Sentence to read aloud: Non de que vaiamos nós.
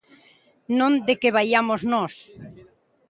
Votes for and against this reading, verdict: 2, 0, accepted